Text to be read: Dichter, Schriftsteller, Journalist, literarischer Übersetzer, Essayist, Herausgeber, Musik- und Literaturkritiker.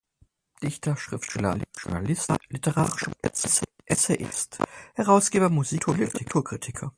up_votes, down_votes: 0, 4